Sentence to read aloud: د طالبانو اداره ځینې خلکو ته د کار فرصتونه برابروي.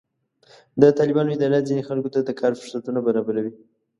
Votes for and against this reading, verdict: 2, 0, accepted